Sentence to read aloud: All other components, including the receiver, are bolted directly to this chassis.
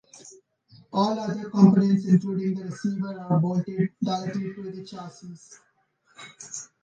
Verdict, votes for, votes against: rejected, 0, 2